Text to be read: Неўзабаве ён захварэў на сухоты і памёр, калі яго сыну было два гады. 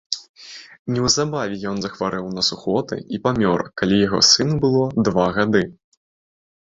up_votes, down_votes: 2, 1